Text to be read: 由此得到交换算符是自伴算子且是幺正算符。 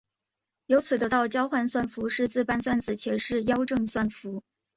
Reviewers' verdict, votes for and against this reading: accepted, 5, 0